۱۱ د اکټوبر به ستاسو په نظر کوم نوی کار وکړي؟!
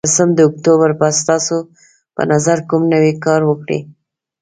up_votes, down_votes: 0, 2